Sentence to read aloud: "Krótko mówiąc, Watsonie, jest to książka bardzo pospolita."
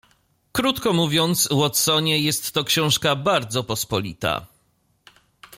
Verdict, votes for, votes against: accepted, 2, 0